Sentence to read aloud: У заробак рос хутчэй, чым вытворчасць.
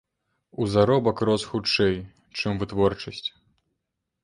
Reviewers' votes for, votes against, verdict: 2, 0, accepted